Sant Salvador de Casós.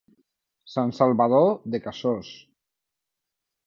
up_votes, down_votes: 0, 2